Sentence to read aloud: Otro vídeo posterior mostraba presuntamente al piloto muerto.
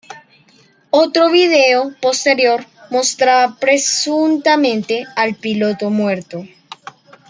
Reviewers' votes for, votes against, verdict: 2, 0, accepted